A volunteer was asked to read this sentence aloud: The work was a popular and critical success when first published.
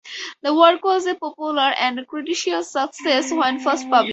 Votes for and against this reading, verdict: 0, 4, rejected